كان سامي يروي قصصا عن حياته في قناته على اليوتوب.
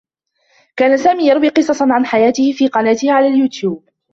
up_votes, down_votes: 0, 2